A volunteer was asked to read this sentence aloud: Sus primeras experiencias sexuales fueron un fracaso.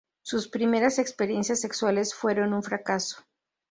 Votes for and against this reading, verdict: 4, 0, accepted